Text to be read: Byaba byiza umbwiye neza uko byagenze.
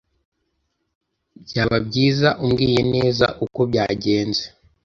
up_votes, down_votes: 0, 2